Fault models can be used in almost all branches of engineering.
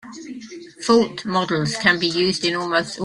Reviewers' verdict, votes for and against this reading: rejected, 0, 2